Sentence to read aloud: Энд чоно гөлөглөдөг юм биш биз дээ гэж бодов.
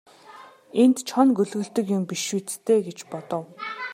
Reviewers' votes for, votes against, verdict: 2, 0, accepted